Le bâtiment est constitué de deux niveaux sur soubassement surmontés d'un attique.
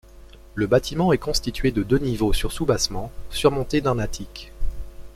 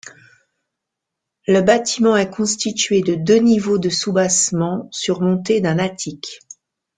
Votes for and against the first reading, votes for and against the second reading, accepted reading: 2, 0, 0, 2, first